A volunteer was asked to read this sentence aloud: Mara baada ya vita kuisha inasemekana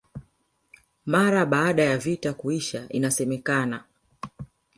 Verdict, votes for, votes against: accepted, 2, 0